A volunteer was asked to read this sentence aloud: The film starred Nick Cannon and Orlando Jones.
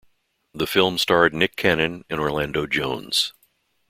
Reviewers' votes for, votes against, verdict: 2, 0, accepted